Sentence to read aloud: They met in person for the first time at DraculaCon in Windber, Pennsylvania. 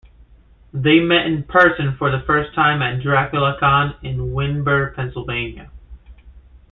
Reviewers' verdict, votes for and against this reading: rejected, 0, 2